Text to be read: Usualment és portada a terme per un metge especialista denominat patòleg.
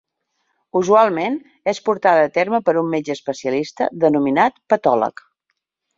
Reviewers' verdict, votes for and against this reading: accepted, 4, 0